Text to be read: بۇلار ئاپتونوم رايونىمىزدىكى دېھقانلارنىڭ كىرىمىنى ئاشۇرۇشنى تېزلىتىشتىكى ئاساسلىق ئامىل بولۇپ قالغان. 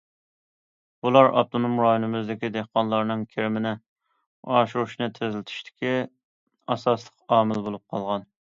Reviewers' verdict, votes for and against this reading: accepted, 2, 0